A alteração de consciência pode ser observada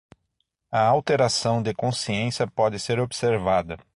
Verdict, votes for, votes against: accepted, 6, 0